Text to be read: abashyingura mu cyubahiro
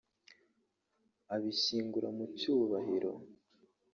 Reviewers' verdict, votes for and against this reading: rejected, 0, 2